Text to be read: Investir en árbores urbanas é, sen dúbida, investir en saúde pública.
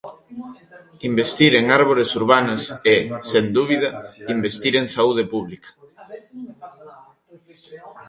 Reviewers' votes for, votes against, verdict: 1, 2, rejected